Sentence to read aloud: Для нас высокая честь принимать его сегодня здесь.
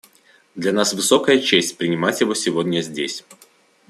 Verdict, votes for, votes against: accepted, 2, 0